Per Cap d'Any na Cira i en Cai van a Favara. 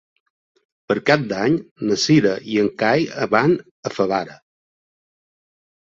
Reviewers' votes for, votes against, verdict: 2, 0, accepted